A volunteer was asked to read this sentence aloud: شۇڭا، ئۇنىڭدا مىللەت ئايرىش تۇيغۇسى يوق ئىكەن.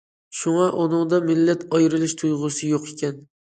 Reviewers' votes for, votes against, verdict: 1, 2, rejected